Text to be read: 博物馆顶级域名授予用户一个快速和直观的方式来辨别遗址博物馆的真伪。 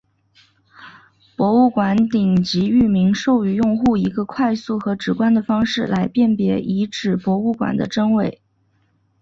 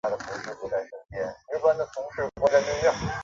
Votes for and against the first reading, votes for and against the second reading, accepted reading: 2, 1, 0, 2, first